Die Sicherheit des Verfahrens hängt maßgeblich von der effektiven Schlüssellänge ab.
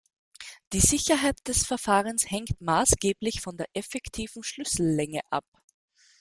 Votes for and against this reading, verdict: 2, 0, accepted